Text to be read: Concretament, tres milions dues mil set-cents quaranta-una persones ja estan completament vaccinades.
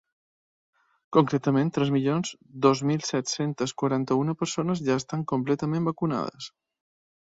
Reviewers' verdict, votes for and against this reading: rejected, 1, 2